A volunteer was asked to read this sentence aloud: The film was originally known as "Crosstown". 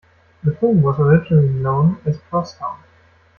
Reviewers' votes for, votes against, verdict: 0, 2, rejected